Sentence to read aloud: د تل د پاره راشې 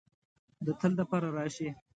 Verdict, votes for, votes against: accepted, 2, 0